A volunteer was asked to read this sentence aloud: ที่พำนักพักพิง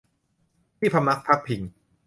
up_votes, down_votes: 2, 0